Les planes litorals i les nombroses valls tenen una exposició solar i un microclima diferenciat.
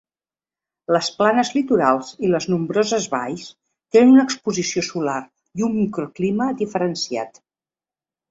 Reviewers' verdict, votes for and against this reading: accepted, 2, 0